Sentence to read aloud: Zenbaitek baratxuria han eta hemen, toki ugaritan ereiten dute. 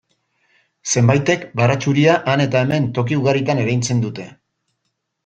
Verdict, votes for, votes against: rejected, 0, 2